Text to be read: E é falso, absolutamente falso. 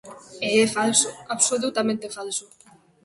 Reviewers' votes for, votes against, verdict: 2, 0, accepted